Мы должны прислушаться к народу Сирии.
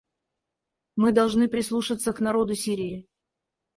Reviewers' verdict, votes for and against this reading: rejected, 2, 4